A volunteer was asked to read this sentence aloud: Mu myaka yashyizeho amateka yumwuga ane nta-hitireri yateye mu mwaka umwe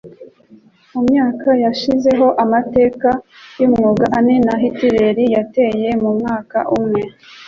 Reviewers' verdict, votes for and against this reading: accepted, 2, 0